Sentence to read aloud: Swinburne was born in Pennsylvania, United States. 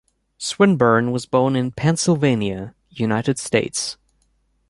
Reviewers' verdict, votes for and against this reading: accepted, 2, 0